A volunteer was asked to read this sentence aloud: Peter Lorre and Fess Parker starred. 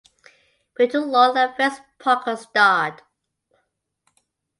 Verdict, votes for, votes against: accepted, 2, 0